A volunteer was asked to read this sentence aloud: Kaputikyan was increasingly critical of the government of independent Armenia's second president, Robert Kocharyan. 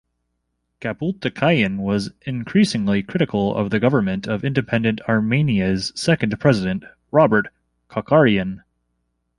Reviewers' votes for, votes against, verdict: 2, 0, accepted